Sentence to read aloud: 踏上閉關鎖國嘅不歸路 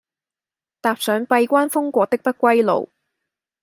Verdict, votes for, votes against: rejected, 1, 2